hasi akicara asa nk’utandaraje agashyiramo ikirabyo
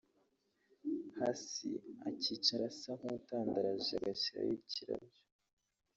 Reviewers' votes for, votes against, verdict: 1, 2, rejected